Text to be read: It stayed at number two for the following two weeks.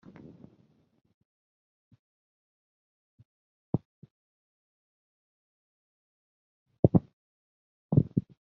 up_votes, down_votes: 0, 2